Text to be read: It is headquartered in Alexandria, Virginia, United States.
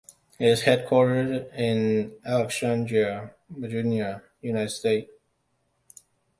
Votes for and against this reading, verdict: 2, 0, accepted